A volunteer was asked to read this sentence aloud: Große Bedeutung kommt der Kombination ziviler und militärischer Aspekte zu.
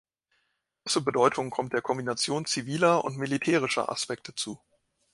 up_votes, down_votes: 1, 2